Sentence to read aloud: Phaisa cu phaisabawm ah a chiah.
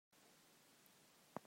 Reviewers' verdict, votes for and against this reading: rejected, 1, 2